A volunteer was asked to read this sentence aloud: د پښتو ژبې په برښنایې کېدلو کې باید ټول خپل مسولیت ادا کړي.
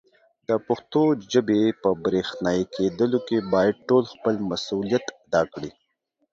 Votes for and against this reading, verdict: 3, 4, rejected